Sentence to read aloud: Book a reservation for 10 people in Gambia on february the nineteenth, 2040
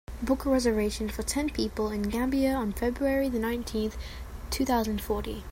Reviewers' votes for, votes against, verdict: 0, 2, rejected